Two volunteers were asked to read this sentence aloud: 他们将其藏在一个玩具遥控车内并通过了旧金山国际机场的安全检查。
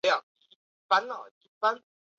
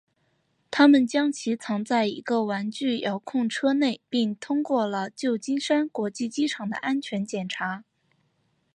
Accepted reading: second